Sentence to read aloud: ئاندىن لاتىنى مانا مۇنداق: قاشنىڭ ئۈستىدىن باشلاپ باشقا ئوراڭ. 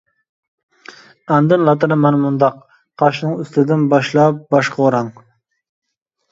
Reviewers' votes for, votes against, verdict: 2, 0, accepted